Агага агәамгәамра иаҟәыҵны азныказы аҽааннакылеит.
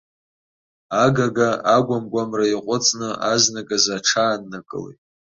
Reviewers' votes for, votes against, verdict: 2, 0, accepted